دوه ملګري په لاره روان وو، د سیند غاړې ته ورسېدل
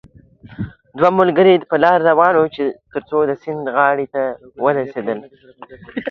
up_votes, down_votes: 0, 2